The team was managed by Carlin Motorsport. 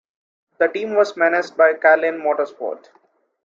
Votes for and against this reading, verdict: 3, 0, accepted